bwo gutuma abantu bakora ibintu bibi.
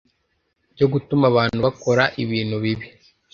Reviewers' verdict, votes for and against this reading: rejected, 1, 2